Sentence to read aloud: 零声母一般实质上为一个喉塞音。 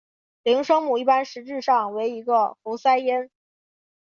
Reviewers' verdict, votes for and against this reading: accepted, 2, 0